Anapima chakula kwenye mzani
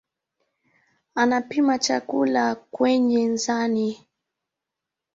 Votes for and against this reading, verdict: 2, 0, accepted